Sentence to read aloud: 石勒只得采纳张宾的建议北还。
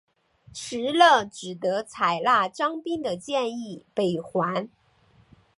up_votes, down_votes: 2, 1